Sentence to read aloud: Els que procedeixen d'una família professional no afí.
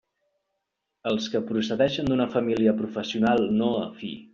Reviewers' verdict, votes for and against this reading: accepted, 2, 0